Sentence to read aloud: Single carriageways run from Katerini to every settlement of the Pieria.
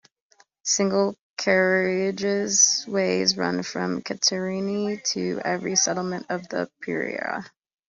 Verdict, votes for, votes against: rejected, 0, 2